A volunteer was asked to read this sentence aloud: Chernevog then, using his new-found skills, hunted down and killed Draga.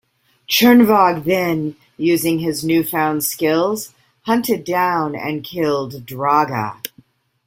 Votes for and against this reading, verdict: 2, 0, accepted